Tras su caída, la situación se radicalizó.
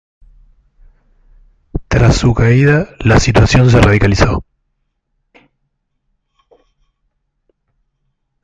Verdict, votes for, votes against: rejected, 1, 2